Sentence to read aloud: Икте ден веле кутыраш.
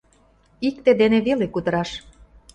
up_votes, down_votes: 2, 0